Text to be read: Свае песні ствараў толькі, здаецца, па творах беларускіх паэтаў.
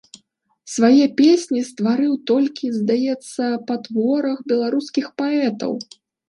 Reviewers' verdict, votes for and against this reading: rejected, 1, 2